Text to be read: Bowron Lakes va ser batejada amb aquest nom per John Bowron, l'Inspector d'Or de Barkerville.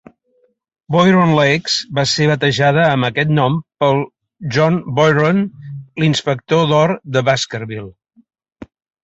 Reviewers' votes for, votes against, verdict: 1, 4, rejected